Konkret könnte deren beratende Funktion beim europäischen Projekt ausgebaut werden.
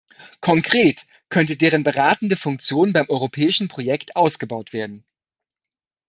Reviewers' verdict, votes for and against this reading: accepted, 2, 0